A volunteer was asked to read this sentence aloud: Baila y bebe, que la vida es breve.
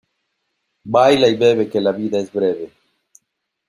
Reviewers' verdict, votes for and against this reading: accepted, 2, 1